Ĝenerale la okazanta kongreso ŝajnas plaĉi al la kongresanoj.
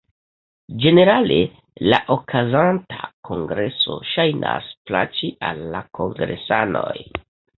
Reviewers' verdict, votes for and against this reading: accepted, 2, 0